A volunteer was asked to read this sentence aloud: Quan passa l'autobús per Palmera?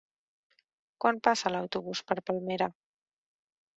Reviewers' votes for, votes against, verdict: 3, 0, accepted